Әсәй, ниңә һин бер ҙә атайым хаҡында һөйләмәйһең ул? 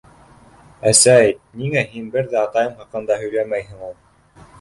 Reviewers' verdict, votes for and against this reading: rejected, 1, 2